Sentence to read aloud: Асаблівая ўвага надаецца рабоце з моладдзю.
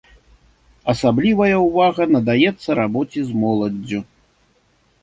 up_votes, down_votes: 2, 0